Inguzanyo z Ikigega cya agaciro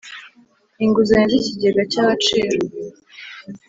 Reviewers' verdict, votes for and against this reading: accepted, 2, 0